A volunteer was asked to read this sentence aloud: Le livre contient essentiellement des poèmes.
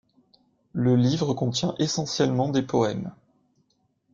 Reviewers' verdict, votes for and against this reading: accepted, 2, 0